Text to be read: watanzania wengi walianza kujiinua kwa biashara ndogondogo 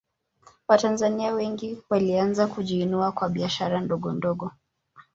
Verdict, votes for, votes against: accepted, 2, 0